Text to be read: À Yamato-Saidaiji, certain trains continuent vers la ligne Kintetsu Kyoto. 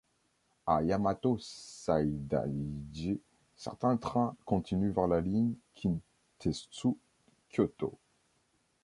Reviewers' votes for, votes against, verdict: 1, 2, rejected